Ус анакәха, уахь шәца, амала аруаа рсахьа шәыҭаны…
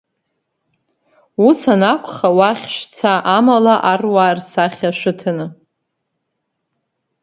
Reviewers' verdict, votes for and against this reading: accepted, 3, 0